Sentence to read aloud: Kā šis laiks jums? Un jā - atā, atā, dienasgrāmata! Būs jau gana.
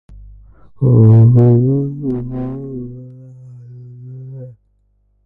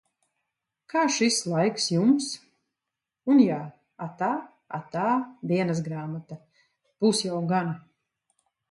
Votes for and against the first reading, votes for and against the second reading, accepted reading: 0, 2, 2, 0, second